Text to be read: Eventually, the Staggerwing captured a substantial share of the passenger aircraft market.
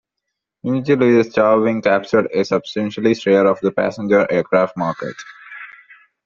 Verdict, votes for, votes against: rejected, 0, 2